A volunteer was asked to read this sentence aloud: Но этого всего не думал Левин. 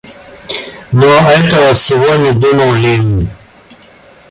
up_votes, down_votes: 2, 0